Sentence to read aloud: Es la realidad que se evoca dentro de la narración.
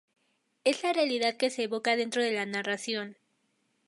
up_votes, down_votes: 2, 0